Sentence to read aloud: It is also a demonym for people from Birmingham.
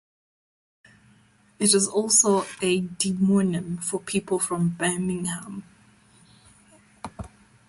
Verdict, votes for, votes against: accepted, 2, 0